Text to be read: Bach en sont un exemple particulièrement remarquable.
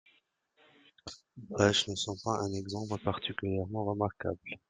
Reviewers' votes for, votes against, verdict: 1, 2, rejected